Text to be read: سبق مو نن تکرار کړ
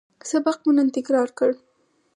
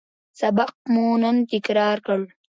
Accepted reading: first